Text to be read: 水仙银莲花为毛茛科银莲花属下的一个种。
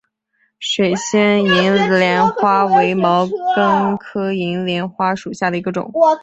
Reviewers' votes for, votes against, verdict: 1, 3, rejected